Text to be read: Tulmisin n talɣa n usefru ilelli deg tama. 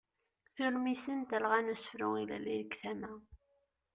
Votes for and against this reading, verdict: 2, 0, accepted